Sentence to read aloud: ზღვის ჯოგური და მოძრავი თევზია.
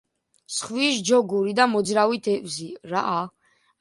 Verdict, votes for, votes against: rejected, 0, 2